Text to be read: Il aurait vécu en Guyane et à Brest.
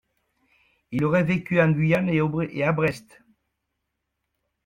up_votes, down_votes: 0, 2